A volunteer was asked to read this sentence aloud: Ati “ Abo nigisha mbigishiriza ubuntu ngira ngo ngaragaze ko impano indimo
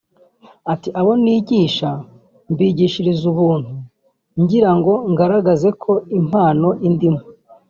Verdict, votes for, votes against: accepted, 3, 0